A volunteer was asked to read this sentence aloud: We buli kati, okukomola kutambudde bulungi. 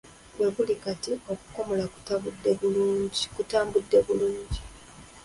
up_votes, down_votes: 0, 2